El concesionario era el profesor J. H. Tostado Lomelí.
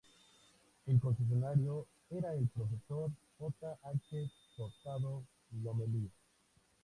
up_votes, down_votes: 2, 0